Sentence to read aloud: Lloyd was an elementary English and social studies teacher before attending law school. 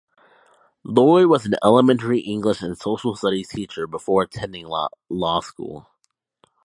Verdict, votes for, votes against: rejected, 1, 2